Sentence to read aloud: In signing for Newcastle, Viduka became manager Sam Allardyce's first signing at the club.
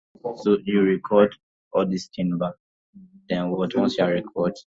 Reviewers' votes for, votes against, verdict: 0, 2, rejected